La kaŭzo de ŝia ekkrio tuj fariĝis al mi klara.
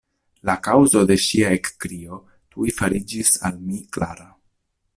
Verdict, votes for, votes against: accepted, 2, 0